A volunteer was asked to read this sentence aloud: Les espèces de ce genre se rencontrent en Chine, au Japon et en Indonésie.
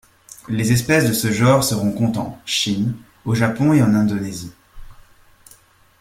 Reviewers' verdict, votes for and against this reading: accepted, 2, 0